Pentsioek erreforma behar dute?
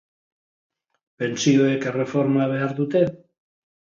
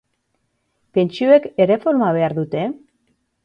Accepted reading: first